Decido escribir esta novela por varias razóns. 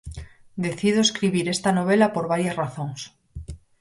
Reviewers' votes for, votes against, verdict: 4, 0, accepted